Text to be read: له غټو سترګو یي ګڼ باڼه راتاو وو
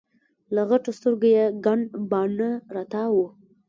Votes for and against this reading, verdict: 1, 2, rejected